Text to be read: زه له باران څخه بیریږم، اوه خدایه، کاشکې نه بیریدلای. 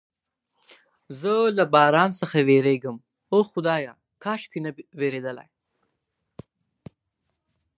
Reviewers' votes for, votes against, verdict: 4, 0, accepted